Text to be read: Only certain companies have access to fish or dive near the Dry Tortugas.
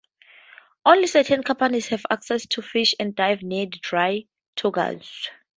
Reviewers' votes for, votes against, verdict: 2, 2, rejected